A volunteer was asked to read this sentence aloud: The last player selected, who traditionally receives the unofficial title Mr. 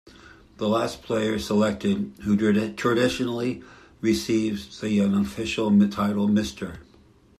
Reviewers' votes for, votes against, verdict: 0, 2, rejected